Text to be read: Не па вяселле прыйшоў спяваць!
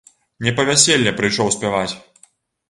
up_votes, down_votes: 2, 0